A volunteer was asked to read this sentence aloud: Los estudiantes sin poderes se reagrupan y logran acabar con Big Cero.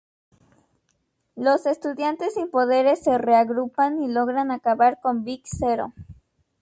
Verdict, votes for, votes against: rejected, 2, 2